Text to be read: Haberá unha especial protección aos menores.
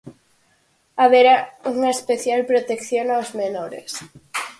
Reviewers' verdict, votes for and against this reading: accepted, 4, 0